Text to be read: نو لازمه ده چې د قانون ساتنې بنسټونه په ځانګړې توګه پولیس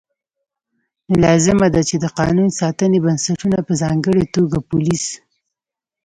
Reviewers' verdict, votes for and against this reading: accepted, 2, 0